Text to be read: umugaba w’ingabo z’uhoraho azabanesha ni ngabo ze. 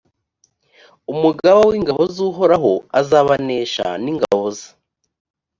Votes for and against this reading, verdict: 2, 0, accepted